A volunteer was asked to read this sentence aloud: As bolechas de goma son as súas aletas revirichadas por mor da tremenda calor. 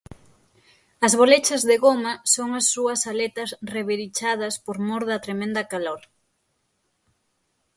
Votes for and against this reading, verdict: 6, 0, accepted